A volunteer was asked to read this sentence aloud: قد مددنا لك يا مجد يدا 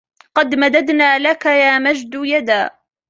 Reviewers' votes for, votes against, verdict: 2, 1, accepted